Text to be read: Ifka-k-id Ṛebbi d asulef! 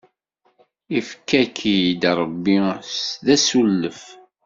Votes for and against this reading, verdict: 2, 0, accepted